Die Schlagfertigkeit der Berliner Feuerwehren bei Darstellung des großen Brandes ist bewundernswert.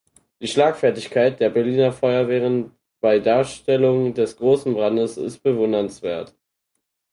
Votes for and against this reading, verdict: 4, 0, accepted